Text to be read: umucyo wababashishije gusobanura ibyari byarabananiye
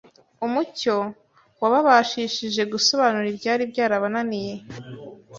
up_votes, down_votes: 3, 0